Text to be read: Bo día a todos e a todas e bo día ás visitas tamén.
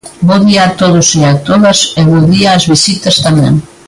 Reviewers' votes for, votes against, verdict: 2, 0, accepted